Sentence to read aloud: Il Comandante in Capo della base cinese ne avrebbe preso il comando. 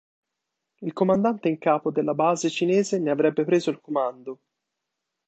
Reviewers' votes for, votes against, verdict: 2, 0, accepted